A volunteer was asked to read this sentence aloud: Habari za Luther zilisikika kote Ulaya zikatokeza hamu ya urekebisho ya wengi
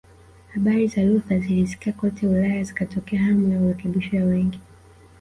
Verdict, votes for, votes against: rejected, 1, 2